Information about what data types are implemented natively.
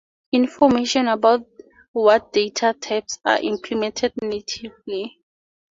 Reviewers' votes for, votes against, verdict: 4, 0, accepted